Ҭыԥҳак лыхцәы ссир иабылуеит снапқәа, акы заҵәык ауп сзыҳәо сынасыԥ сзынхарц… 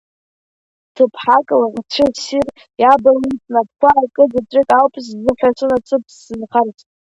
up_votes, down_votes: 2, 0